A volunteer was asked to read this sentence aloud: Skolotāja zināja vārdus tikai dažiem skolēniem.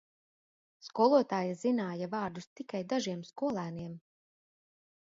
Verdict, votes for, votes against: accepted, 2, 0